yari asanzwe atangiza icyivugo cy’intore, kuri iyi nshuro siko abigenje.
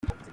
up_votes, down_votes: 0, 2